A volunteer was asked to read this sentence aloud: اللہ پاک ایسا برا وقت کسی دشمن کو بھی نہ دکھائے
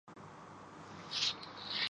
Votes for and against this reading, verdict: 0, 3, rejected